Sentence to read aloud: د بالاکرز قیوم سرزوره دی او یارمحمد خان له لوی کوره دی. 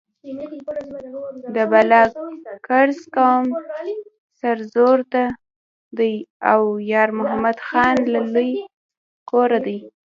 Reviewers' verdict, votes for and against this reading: accepted, 2, 1